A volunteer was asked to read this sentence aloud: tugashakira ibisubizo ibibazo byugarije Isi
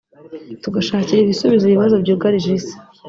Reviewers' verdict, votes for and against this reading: rejected, 1, 2